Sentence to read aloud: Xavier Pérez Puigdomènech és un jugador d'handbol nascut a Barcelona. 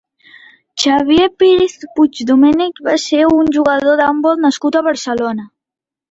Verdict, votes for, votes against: rejected, 0, 2